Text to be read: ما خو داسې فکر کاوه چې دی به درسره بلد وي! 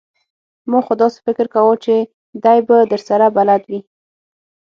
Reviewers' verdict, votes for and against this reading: accepted, 6, 0